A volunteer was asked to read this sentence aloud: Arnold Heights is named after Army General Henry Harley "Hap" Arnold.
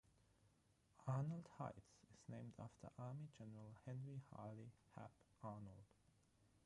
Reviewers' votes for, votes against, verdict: 3, 0, accepted